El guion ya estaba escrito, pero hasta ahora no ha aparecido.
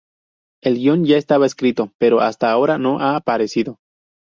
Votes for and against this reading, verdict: 2, 0, accepted